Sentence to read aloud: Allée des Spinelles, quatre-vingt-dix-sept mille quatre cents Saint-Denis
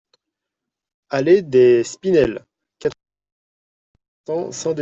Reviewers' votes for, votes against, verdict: 0, 2, rejected